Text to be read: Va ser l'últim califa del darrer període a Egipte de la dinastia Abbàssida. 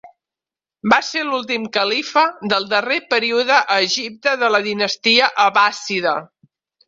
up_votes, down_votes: 2, 0